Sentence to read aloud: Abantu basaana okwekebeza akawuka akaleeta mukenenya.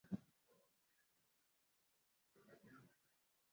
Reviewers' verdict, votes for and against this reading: rejected, 1, 2